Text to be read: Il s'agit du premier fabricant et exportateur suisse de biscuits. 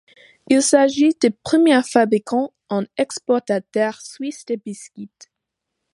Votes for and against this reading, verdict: 1, 2, rejected